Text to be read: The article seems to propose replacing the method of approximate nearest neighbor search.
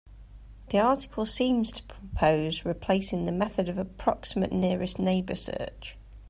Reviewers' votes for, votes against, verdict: 2, 0, accepted